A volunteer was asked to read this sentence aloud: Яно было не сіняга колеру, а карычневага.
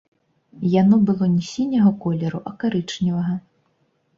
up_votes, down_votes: 3, 0